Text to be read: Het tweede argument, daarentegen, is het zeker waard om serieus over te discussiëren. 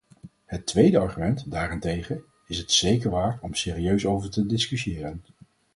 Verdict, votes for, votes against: accepted, 4, 0